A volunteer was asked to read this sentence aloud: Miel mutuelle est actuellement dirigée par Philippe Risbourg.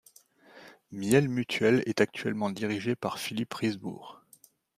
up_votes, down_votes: 2, 0